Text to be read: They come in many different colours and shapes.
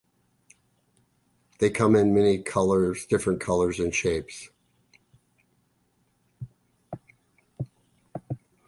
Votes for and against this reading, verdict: 0, 2, rejected